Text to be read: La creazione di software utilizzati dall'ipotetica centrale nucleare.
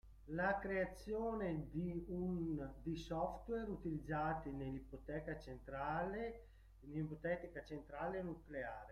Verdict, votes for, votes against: rejected, 0, 2